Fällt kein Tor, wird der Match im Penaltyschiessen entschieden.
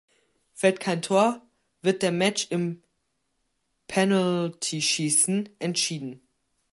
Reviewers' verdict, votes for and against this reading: rejected, 0, 2